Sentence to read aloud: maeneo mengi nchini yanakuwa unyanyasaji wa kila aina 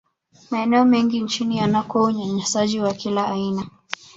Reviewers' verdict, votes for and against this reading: accepted, 2, 1